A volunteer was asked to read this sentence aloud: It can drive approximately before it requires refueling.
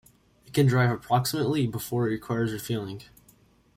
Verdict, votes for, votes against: rejected, 1, 2